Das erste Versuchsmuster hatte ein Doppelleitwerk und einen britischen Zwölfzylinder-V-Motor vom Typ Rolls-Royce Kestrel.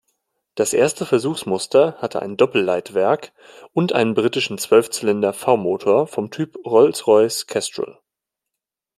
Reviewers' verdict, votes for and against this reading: accepted, 2, 0